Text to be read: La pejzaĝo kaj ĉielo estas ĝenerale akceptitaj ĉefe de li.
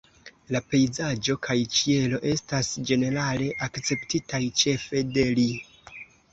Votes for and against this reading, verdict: 2, 0, accepted